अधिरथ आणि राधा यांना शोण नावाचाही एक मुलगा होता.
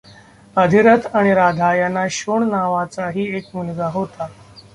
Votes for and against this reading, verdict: 0, 2, rejected